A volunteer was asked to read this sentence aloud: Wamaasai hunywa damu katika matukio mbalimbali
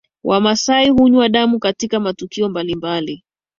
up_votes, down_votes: 2, 0